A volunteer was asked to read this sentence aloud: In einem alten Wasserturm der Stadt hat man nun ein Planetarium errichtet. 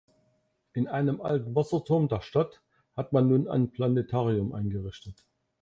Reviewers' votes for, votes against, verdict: 0, 2, rejected